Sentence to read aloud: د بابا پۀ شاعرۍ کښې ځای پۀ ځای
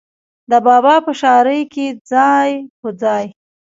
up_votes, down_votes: 2, 1